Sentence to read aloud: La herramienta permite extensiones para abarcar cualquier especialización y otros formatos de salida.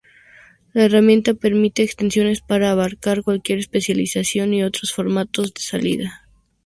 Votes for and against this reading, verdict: 2, 0, accepted